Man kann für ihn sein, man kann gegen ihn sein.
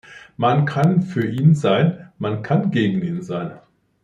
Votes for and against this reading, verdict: 2, 0, accepted